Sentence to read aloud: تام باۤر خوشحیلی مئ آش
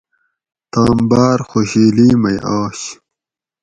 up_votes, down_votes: 4, 0